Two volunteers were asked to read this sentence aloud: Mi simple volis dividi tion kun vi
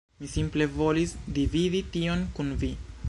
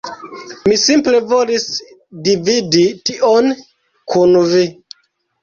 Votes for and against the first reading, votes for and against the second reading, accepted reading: 3, 0, 1, 2, first